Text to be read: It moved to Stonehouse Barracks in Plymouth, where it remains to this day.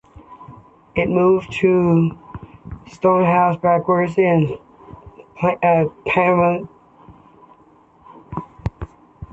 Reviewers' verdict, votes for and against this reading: rejected, 0, 2